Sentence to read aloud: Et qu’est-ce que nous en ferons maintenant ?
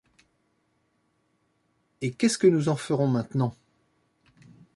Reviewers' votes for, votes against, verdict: 2, 0, accepted